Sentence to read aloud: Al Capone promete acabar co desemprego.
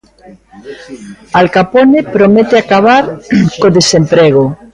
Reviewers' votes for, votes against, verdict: 2, 1, accepted